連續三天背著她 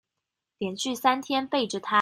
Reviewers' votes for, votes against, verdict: 3, 0, accepted